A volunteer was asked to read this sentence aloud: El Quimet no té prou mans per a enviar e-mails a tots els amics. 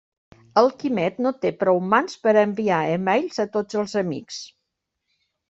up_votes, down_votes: 3, 0